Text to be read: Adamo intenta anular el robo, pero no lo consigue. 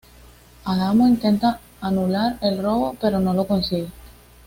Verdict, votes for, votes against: accepted, 2, 0